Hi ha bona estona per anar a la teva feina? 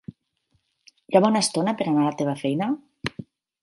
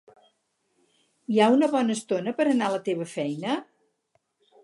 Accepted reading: first